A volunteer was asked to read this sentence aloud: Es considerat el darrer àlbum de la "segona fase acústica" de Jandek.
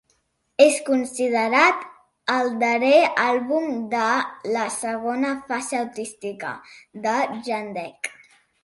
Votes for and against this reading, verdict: 0, 2, rejected